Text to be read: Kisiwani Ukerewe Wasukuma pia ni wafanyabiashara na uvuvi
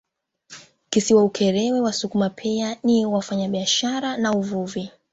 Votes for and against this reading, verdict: 0, 2, rejected